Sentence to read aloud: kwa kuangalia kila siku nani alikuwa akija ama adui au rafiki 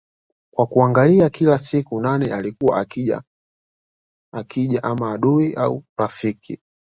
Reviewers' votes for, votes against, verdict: 0, 2, rejected